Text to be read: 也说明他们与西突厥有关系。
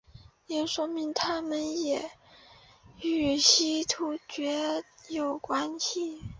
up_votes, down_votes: 3, 2